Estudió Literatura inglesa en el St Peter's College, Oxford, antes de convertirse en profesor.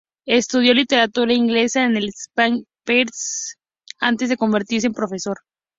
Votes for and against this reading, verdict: 0, 2, rejected